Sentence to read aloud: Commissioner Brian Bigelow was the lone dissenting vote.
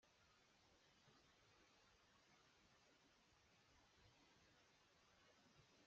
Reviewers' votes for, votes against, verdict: 0, 2, rejected